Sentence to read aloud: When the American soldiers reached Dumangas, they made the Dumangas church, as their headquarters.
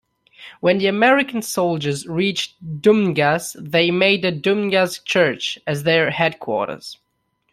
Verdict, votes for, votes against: rejected, 1, 2